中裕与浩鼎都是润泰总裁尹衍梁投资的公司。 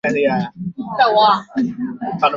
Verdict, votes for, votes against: rejected, 0, 3